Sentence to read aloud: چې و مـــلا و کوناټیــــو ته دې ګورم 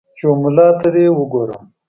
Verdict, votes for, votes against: rejected, 0, 2